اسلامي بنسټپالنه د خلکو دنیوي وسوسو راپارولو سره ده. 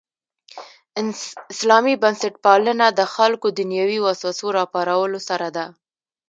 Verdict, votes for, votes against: rejected, 1, 2